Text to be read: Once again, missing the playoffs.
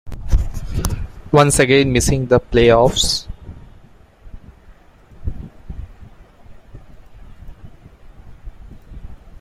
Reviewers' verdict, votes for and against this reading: accepted, 2, 0